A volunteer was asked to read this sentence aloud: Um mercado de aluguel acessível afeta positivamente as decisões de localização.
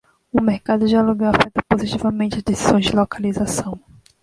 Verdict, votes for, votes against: rejected, 0, 2